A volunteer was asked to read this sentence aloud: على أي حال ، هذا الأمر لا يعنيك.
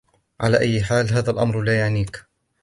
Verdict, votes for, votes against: accepted, 2, 1